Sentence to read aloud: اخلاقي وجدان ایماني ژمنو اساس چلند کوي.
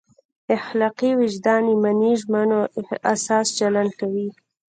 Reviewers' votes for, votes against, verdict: 0, 2, rejected